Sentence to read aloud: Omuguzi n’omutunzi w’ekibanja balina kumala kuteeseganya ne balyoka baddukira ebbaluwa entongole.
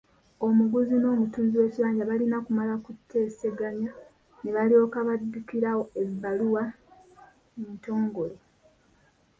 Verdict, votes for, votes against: accepted, 2, 0